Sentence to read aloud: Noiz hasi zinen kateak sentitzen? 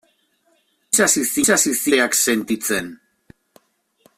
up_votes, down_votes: 0, 2